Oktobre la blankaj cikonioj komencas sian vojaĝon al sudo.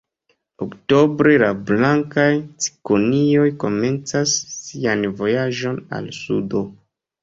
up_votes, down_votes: 1, 2